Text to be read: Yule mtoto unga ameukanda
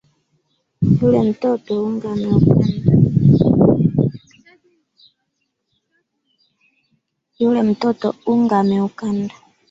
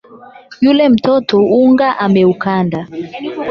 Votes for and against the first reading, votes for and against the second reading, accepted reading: 1, 3, 8, 4, second